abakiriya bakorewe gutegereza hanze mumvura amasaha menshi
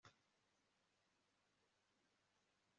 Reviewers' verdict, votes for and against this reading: rejected, 1, 2